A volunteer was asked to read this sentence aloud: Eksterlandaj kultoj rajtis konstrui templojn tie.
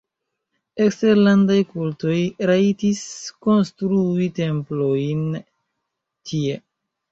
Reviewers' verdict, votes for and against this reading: accepted, 2, 1